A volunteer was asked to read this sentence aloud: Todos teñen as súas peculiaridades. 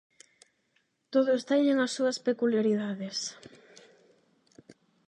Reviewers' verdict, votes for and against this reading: accepted, 8, 0